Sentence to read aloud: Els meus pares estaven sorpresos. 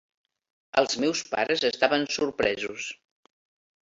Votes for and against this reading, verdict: 3, 0, accepted